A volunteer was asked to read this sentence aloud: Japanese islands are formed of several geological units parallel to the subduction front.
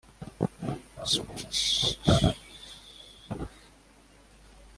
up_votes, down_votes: 0, 2